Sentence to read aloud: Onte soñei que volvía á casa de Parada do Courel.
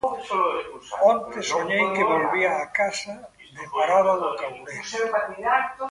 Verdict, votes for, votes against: rejected, 0, 2